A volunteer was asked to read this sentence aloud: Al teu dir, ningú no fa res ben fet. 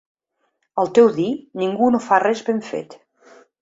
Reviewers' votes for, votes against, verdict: 2, 0, accepted